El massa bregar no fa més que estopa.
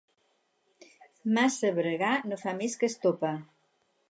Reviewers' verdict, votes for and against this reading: accepted, 4, 2